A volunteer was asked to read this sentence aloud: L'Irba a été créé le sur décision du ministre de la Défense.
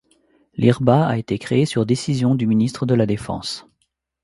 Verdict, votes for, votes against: rejected, 1, 2